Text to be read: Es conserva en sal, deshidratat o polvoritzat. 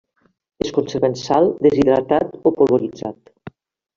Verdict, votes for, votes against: accepted, 2, 1